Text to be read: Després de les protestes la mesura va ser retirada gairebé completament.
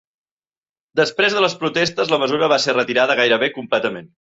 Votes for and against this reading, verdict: 3, 0, accepted